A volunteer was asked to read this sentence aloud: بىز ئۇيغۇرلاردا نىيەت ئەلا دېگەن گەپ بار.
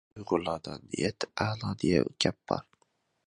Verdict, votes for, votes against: rejected, 0, 2